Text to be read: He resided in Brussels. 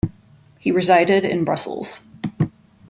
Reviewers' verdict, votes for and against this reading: accepted, 2, 0